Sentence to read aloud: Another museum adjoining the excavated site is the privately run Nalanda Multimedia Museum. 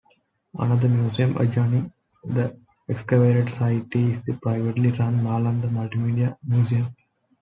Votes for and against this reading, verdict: 3, 1, accepted